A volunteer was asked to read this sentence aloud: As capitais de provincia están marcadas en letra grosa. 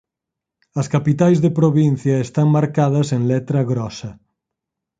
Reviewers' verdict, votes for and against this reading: accepted, 4, 0